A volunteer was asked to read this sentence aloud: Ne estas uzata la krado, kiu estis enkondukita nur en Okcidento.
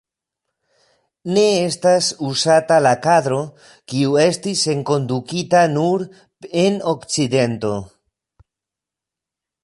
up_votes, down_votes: 0, 2